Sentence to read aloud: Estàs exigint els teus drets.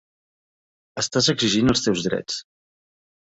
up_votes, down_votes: 3, 0